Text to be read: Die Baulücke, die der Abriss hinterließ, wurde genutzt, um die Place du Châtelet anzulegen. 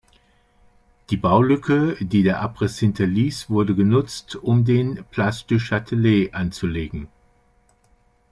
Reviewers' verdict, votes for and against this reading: rejected, 1, 2